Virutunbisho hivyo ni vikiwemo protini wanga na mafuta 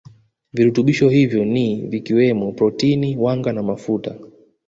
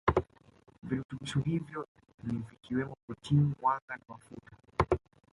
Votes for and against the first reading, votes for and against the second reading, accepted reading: 2, 1, 0, 2, first